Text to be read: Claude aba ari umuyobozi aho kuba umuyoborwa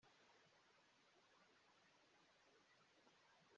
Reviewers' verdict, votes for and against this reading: rejected, 1, 2